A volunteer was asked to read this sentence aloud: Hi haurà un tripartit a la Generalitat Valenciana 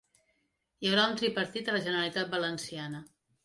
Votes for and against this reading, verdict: 2, 0, accepted